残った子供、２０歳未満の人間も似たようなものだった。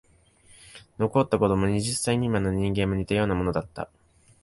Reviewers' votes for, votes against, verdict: 0, 2, rejected